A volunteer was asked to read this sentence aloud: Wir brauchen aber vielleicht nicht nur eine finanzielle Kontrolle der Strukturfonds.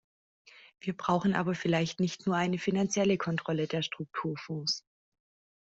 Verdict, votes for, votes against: accepted, 2, 0